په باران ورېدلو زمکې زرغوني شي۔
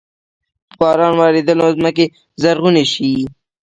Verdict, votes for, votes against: rejected, 0, 2